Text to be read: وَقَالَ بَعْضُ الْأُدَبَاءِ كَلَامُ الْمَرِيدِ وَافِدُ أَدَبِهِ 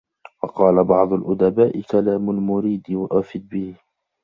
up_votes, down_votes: 1, 2